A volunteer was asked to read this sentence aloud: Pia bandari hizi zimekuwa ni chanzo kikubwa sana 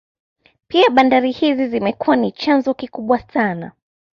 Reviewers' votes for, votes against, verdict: 2, 0, accepted